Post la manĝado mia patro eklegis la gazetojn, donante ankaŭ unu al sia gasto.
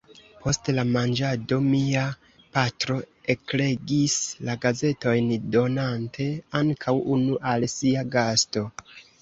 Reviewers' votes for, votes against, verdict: 2, 0, accepted